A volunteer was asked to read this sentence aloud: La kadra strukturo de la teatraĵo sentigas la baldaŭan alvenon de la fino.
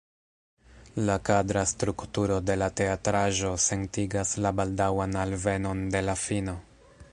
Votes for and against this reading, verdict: 0, 2, rejected